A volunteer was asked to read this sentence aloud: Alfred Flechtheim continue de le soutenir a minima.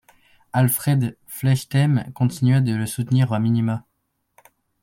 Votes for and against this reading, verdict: 1, 2, rejected